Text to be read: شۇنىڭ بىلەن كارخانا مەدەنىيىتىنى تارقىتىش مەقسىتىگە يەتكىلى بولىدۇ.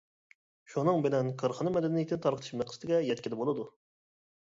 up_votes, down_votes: 1, 2